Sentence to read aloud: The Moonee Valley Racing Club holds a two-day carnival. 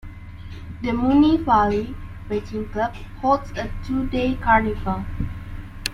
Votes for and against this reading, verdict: 1, 2, rejected